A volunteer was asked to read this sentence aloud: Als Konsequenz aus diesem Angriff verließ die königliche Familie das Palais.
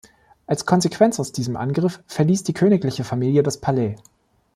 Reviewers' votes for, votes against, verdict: 2, 0, accepted